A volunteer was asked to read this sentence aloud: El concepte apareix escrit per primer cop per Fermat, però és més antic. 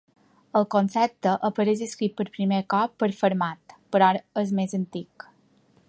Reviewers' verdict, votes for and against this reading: rejected, 1, 3